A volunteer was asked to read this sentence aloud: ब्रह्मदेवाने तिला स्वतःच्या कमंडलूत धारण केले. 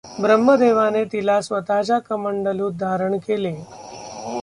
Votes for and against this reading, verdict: 1, 2, rejected